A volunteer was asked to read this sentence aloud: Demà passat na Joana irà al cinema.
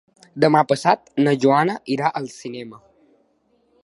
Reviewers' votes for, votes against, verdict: 4, 0, accepted